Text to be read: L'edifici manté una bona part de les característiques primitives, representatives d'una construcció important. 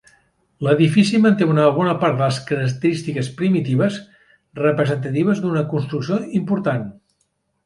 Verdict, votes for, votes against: rejected, 0, 2